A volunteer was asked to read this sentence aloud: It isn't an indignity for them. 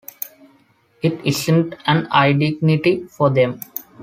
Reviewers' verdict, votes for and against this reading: rejected, 0, 2